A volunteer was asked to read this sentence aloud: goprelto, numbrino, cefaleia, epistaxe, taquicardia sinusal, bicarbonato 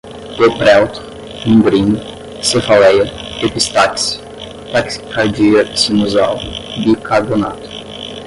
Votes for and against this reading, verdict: 0, 5, rejected